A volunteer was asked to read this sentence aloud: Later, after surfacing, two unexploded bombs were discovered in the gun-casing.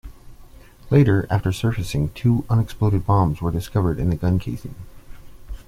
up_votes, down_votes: 2, 0